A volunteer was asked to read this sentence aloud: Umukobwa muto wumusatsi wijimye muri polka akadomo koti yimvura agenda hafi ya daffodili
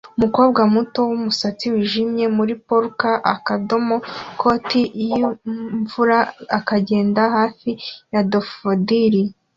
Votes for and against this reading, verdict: 2, 0, accepted